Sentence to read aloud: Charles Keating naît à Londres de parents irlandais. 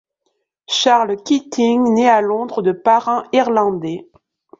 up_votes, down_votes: 2, 0